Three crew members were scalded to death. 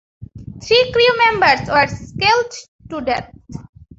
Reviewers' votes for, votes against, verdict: 1, 2, rejected